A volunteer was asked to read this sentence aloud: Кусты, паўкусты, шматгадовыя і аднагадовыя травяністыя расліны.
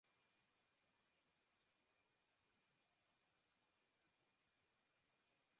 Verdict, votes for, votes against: rejected, 0, 2